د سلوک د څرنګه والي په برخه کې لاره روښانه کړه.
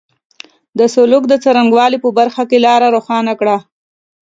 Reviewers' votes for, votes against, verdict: 3, 0, accepted